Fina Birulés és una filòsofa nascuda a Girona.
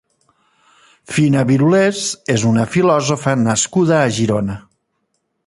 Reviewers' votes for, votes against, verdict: 2, 0, accepted